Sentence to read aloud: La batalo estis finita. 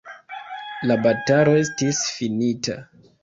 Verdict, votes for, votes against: rejected, 1, 2